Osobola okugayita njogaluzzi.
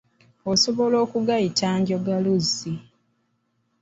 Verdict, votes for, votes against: accepted, 2, 0